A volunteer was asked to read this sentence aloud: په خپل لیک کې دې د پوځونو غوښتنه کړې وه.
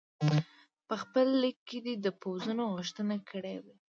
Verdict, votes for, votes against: rejected, 0, 2